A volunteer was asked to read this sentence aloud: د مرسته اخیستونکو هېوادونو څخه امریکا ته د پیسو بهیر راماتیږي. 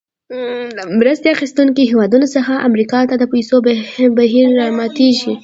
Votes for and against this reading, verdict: 2, 0, accepted